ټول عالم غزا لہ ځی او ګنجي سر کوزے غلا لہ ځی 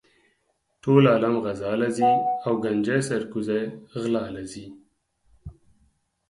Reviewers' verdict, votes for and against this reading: accepted, 4, 0